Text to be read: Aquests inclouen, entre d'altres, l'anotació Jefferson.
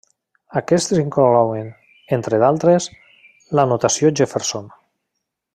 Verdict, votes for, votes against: rejected, 0, 2